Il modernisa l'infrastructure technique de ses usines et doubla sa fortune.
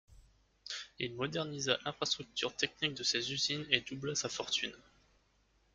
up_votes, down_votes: 2, 0